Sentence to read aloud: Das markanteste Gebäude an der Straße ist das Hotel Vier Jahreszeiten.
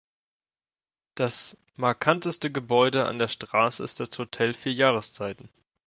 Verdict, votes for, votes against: accepted, 2, 0